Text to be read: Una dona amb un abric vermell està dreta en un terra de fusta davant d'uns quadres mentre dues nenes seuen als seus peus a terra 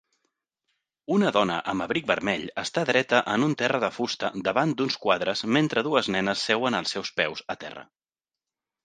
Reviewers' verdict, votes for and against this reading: rejected, 0, 2